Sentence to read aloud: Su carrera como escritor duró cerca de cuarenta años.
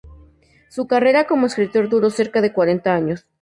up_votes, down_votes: 2, 0